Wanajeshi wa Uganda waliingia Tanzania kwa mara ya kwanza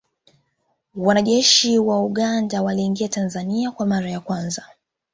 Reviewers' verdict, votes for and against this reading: accepted, 2, 1